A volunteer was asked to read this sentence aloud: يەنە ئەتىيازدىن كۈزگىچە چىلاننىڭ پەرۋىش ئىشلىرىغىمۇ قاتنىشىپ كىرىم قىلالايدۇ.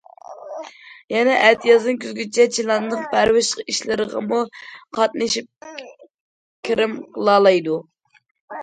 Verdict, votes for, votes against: accepted, 2, 0